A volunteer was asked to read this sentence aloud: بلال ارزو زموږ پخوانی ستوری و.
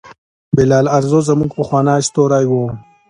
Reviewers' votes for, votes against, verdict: 1, 2, rejected